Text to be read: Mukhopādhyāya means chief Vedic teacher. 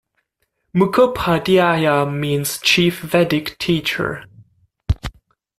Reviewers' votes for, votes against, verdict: 1, 2, rejected